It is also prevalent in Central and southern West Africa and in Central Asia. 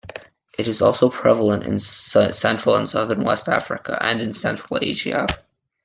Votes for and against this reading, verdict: 0, 2, rejected